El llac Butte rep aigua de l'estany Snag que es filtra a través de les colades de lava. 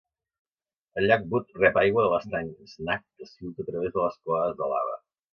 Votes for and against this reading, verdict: 2, 1, accepted